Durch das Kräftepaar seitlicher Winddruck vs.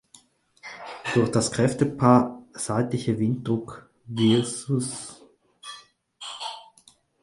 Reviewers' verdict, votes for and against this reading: rejected, 2, 4